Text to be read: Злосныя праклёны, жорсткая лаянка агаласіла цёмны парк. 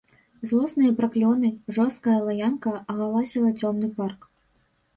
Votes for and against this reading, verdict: 1, 2, rejected